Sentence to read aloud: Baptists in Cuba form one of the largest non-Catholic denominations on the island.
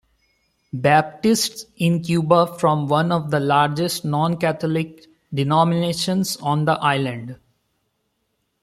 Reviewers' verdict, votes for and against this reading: rejected, 1, 2